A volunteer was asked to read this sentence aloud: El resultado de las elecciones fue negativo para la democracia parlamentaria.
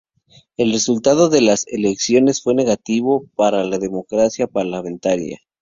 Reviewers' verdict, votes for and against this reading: rejected, 2, 2